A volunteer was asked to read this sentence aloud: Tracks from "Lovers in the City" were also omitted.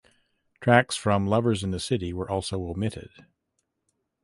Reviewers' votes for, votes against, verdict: 2, 0, accepted